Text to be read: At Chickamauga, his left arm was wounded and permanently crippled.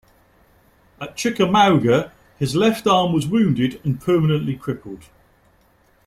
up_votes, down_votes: 2, 0